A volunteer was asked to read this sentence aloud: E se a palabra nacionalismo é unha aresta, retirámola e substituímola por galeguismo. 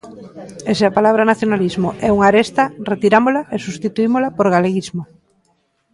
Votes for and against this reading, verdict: 2, 0, accepted